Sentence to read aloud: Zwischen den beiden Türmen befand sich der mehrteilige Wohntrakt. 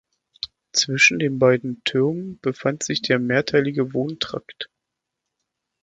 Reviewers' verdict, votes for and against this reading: accepted, 2, 0